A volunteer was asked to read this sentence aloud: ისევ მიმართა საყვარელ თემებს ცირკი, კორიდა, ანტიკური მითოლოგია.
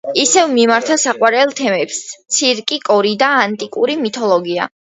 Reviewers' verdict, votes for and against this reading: accepted, 2, 0